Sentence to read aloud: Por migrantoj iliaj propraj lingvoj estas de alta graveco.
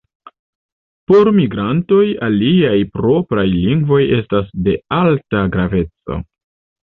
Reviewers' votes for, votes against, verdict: 1, 2, rejected